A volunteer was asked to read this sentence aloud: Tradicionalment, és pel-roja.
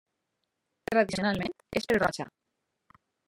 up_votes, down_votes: 1, 2